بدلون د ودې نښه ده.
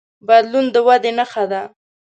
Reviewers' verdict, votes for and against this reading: accepted, 2, 0